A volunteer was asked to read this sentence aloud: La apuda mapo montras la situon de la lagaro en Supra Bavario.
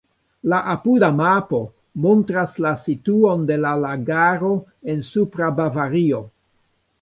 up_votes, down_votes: 1, 2